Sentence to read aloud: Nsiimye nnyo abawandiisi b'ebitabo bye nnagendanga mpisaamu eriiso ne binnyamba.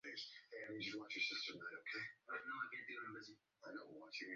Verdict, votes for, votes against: rejected, 0, 2